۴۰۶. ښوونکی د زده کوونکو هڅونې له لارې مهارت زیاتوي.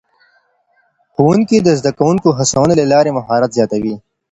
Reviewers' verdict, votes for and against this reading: rejected, 0, 2